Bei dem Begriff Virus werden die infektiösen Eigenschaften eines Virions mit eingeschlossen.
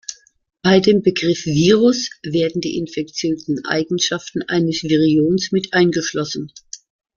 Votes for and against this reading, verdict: 2, 0, accepted